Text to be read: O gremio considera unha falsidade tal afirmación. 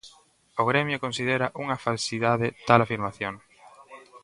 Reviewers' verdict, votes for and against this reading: accepted, 2, 0